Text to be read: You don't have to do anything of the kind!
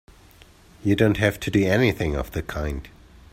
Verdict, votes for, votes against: accepted, 2, 0